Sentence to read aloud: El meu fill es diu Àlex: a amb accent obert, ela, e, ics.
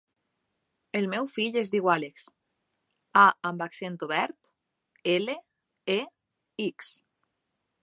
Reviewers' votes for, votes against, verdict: 0, 2, rejected